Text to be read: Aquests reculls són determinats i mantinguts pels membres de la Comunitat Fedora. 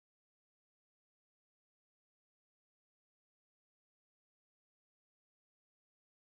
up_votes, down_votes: 0, 2